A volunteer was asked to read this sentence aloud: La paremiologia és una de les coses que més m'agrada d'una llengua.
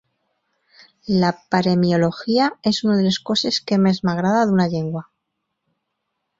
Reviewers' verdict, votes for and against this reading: accepted, 4, 0